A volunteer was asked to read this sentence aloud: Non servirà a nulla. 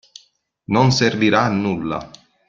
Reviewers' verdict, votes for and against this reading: accepted, 2, 0